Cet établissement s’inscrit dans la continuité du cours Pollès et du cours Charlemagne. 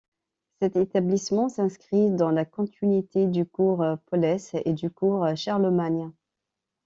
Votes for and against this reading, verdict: 2, 0, accepted